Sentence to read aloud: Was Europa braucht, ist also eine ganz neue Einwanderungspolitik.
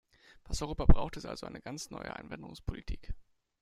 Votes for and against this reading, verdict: 2, 0, accepted